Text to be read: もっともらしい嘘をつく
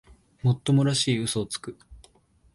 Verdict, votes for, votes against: accepted, 2, 0